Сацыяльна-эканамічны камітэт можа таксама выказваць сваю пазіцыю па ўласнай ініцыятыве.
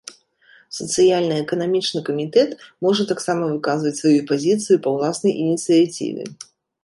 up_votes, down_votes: 1, 2